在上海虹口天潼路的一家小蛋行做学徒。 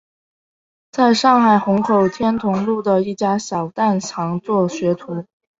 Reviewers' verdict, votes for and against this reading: accepted, 3, 0